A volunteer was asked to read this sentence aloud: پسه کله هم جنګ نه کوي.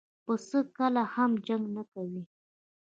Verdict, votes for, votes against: rejected, 1, 2